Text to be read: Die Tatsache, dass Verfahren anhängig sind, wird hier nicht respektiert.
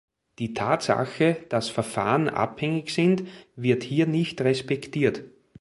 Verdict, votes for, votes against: accepted, 3, 2